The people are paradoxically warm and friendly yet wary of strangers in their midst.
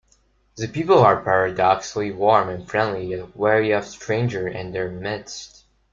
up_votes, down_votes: 2, 0